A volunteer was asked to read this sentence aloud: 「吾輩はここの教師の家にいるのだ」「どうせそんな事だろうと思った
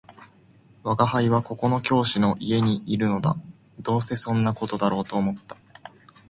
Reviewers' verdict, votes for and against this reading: accepted, 10, 0